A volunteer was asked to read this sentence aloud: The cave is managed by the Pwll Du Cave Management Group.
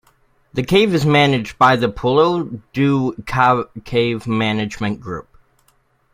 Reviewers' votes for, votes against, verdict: 0, 2, rejected